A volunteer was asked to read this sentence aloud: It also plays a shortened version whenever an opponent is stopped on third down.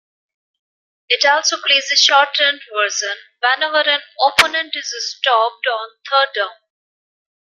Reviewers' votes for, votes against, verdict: 1, 2, rejected